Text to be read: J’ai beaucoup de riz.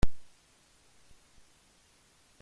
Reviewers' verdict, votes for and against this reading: rejected, 0, 2